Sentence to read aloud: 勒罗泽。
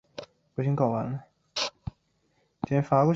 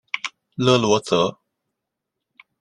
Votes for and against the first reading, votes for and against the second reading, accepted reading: 0, 3, 2, 0, second